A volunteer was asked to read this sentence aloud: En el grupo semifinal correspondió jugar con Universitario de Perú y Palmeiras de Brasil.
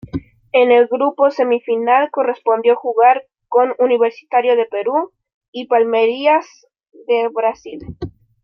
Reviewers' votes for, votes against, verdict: 0, 2, rejected